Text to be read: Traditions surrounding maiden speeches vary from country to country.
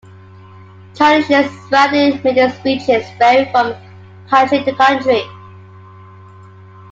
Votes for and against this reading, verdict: 0, 2, rejected